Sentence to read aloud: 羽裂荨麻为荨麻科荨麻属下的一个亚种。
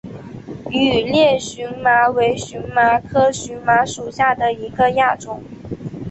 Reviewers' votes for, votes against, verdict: 2, 0, accepted